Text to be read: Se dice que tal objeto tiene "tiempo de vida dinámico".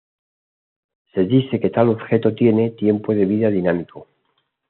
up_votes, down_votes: 2, 0